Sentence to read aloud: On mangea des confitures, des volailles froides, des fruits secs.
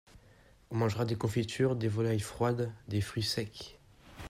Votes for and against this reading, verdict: 1, 2, rejected